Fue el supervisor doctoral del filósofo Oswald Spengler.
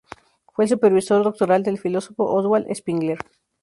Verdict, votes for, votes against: accepted, 4, 0